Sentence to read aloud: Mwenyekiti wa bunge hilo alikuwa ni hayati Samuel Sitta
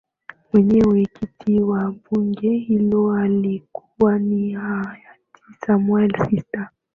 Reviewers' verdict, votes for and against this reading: accepted, 2, 0